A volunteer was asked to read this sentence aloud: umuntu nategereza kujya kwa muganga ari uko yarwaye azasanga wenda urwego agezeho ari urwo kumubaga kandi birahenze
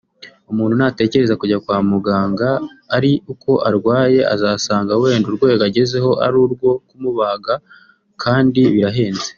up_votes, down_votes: 1, 2